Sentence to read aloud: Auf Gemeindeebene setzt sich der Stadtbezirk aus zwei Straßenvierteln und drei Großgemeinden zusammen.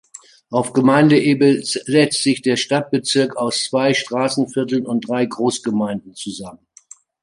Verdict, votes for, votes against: accepted, 2, 1